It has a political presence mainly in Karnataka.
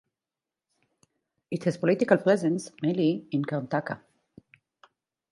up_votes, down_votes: 0, 2